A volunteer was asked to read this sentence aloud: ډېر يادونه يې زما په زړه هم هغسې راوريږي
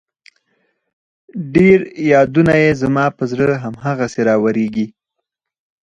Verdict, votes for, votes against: accepted, 4, 2